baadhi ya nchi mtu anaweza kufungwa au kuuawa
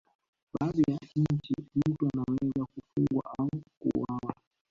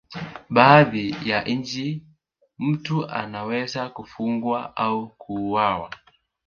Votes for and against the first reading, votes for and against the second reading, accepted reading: 1, 2, 4, 0, second